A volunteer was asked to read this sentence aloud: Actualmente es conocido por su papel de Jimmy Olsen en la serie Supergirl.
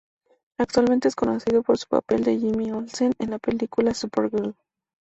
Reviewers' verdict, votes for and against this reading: rejected, 0, 2